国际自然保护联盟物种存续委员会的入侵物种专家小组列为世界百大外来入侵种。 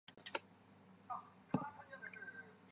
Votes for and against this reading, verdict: 0, 2, rejected